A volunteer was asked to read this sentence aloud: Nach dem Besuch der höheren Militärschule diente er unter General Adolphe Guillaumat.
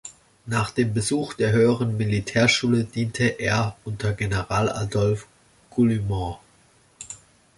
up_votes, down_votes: 2, 0